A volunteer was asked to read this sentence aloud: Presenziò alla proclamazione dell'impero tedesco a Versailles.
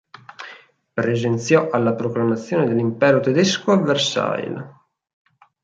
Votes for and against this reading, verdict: 4, 0, accepted